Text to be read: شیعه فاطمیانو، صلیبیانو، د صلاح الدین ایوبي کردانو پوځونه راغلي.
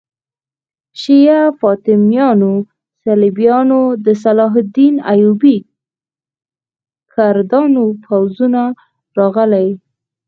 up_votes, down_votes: 2, 4